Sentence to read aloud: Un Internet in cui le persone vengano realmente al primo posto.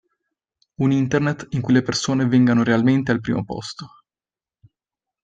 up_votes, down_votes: 2, 0